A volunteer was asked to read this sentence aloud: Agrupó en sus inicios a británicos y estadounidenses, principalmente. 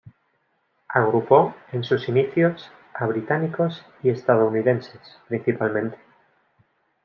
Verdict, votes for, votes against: accepted, 2, 0